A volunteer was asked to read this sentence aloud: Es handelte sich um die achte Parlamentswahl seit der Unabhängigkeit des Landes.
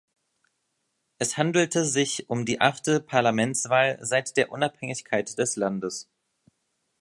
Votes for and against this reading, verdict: 2, 0, accepted